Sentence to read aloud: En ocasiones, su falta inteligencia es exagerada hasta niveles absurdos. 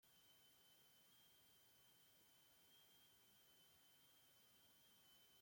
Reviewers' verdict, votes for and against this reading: rejected, 0, 2